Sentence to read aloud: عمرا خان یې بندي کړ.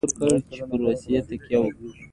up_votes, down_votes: 2, 0